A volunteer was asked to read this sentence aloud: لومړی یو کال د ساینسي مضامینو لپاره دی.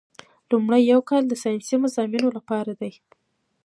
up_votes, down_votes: 0, 2